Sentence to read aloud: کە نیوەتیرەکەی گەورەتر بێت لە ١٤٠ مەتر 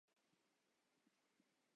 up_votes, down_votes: 0, 2